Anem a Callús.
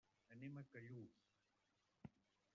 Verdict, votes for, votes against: rejected, 1, 3